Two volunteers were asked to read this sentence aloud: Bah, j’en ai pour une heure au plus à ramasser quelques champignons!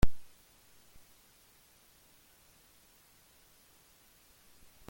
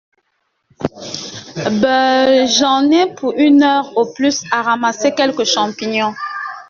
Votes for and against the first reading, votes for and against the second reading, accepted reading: 0, 2, 2, 0, second